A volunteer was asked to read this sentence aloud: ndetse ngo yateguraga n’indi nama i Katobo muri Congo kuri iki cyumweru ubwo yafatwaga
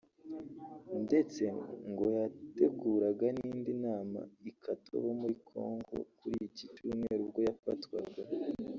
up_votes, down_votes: 2, 1